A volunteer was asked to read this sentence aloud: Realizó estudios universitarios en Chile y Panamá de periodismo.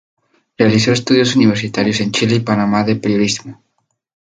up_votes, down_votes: 2, 0